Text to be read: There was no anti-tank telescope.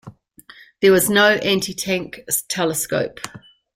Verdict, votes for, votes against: rejected, 1, 2